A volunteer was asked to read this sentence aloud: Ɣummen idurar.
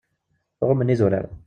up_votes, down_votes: 1, 2